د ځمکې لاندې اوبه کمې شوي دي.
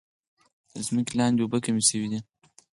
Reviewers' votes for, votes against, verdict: 2, 4, rejected